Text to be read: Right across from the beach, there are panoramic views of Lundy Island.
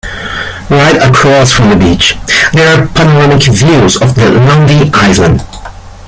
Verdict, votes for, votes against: rejected, 1, 2